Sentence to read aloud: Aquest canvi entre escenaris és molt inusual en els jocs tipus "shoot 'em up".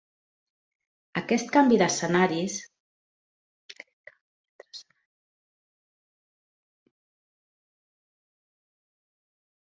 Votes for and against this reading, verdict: 0, 2, rejected